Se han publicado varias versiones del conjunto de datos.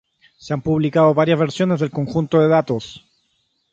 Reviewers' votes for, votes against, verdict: 3, 3, rejected